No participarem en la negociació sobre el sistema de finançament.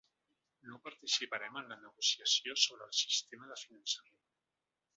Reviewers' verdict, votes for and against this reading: rejected, 1, 2